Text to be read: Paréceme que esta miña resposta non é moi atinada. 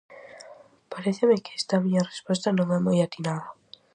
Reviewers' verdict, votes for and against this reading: accepted, 4, 0